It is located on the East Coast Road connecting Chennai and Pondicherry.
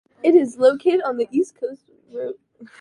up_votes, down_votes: 0, 2